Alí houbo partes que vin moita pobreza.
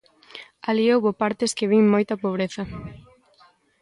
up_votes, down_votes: 2, 0